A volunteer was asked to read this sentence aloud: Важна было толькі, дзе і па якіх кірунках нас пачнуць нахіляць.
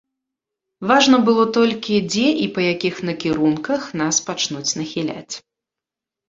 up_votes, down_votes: 0, 2